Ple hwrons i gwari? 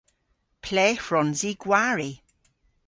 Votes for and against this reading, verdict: 2, 0, accepted